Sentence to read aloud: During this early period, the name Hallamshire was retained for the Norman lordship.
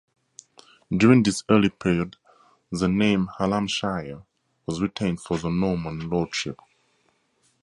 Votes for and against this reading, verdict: 4, 0, accepted